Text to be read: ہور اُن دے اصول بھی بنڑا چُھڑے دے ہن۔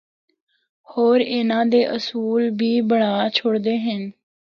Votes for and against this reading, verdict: 2, 0, accepted